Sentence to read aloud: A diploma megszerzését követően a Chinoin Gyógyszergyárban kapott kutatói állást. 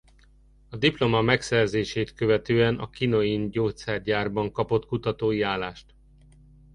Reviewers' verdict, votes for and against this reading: accepted, 2, 0